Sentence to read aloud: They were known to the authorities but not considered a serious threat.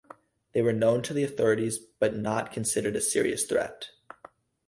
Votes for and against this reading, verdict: 4, 0, accepted